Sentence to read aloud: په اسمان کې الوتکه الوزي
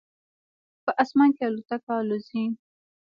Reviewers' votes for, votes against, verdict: 0, 2, rejected